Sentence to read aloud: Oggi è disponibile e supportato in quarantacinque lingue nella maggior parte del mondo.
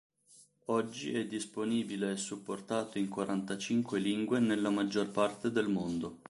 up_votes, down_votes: 2, 0